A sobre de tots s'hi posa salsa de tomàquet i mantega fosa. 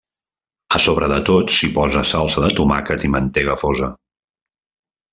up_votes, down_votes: 2, 0